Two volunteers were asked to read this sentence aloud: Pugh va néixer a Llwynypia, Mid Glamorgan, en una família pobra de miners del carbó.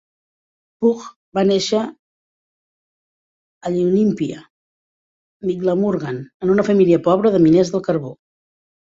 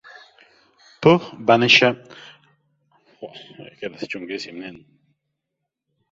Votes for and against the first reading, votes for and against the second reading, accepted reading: 2, 0, 0, 2, first